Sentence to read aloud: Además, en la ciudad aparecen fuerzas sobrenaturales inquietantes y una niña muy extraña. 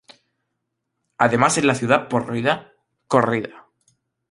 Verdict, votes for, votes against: rejected, 0, 2